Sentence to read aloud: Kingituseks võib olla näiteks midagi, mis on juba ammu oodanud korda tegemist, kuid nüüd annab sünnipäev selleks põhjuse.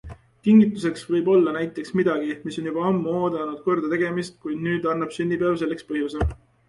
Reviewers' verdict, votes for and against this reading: accepted, 2, 0